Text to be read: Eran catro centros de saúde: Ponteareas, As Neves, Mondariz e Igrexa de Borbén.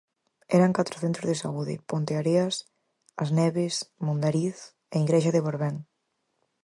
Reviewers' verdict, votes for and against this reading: accepted, 4, 0